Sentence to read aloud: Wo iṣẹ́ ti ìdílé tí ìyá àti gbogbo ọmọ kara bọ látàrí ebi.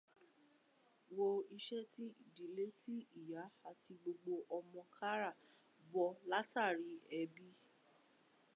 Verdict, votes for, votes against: accepted, 2, 0